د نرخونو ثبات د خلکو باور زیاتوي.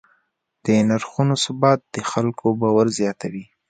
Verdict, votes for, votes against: accepted, 2, 0